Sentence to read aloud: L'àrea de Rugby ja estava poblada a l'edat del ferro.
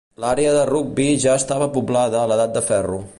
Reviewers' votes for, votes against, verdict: 3, 2, accepted